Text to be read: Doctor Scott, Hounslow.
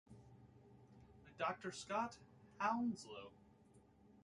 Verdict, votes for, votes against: accepted, 2, 0